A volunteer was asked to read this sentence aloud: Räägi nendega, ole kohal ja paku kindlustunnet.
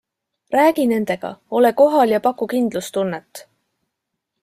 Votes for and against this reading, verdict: 2, 0, accepted